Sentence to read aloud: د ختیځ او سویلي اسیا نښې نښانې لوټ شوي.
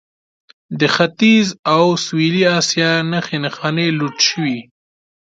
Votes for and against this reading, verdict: 2, 0, accepted